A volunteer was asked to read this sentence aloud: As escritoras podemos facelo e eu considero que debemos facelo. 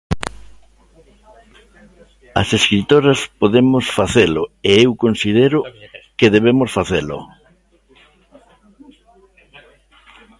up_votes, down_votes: 2, 0